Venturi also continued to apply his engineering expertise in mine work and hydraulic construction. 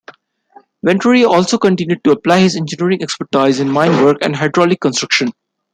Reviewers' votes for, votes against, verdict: 2, 1, accepted